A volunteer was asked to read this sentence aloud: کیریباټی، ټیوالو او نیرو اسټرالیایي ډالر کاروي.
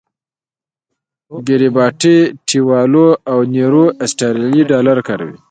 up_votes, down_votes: 0, 2